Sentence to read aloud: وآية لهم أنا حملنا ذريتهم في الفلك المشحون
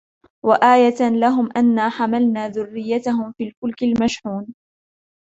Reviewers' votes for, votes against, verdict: 2, 1, accepted